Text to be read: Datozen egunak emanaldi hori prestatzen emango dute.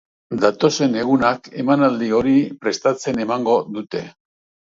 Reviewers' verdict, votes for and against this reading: accepted, 2, 0